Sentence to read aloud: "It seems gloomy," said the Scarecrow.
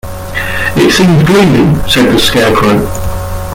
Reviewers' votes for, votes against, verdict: 0, 2, rejected